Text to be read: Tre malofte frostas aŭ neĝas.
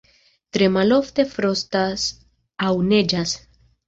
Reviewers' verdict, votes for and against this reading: accepted, 2, 0